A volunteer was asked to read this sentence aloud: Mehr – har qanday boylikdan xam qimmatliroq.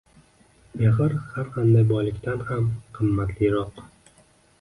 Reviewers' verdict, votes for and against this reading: rejected, 1, 2